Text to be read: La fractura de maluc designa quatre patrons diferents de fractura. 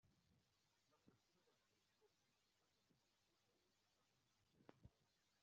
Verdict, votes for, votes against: rejected, 0, 2